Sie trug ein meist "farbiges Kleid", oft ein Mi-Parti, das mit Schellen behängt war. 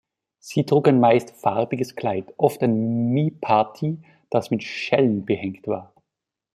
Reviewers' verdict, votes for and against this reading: rejected, 1, 2